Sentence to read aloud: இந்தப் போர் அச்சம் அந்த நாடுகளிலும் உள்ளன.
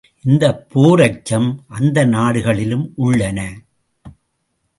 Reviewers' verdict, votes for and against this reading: accepted, 2, 0